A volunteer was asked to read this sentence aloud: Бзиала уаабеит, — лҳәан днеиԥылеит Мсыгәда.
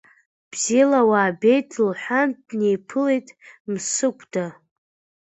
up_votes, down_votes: 2, 0